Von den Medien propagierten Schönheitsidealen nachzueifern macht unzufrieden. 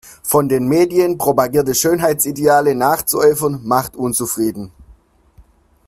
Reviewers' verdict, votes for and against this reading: rejected, 1, 2